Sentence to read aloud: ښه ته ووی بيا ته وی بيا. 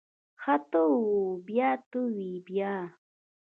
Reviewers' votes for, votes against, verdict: 0, 2, rejected